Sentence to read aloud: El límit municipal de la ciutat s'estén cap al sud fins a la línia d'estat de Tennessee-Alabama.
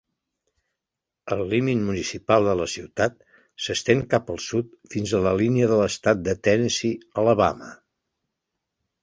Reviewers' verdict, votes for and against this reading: accepted, 2, 0